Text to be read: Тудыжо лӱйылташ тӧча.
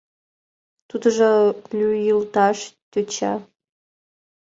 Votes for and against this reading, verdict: 1, 2, rejected